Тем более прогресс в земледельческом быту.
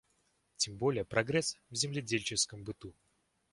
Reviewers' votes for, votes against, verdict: 2, 0, accepted